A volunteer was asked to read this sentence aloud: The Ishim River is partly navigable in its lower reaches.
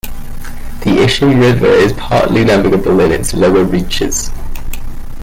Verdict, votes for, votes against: rejected, 0, 2